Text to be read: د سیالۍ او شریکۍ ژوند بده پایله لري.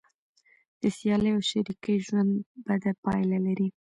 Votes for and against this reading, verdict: 0, 2, rejected